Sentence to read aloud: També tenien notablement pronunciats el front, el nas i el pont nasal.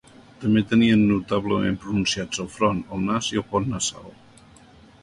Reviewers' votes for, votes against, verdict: 2, 0, accepted